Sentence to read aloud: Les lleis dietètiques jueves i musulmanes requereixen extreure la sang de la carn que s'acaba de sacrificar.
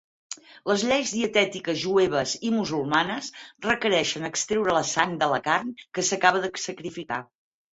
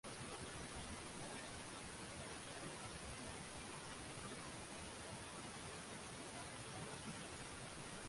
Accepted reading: first